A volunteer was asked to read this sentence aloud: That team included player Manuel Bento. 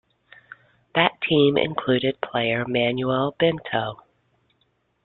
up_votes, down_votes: 2, 0